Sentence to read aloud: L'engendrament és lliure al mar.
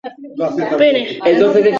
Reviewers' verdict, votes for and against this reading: rejected, 0, 2